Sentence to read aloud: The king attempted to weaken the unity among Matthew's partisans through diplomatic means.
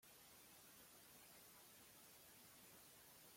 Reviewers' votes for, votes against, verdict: 0, 2, rejected